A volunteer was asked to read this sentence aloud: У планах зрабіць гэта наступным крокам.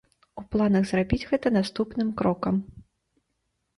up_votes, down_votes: 2, 0